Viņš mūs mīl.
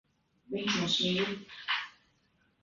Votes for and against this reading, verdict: 0, 2, rejected